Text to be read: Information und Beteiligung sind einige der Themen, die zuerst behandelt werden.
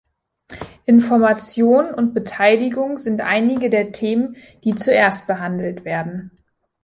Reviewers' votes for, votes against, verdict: 2, 0, accepted